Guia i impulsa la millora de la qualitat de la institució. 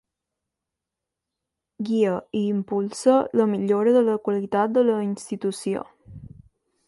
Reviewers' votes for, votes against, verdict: 2, 0, accepted